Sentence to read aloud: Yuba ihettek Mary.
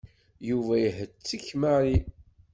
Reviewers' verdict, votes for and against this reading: accepted, 2, 0